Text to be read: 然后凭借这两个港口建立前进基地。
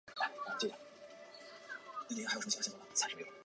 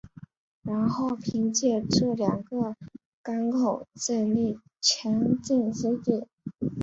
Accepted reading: second